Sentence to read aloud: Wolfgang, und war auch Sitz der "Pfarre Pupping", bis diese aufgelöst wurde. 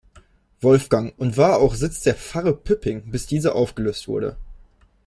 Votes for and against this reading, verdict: 0, 2, rejected